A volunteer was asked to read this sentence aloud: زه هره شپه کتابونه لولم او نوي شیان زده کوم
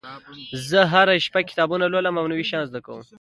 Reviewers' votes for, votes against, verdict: 2, 0, accepted